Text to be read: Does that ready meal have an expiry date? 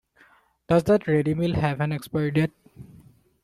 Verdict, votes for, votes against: rejected, 1, 2